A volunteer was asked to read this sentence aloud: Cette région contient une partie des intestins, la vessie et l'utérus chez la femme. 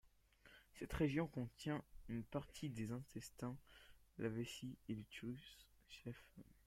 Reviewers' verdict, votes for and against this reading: accepted, 2, 0